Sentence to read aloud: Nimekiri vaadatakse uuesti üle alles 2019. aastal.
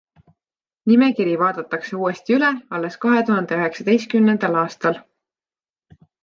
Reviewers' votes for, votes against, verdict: 0, 2, rejected